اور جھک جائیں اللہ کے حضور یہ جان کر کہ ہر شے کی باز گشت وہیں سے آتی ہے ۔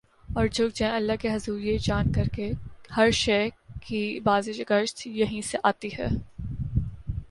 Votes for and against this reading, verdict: 0, 2, rejected